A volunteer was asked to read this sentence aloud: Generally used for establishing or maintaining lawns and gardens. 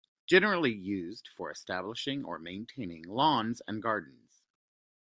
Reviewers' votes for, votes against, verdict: 2, 0, accepted